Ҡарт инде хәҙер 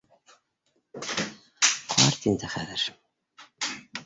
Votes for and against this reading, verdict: 1, 2, rejected